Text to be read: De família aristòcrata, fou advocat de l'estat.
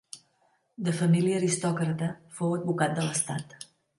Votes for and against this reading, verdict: 2, 0, accepted